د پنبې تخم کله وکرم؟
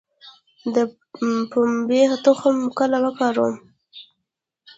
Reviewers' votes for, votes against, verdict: 1, 2, rejected